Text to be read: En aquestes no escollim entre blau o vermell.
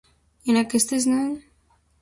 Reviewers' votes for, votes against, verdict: 0, 2, rejected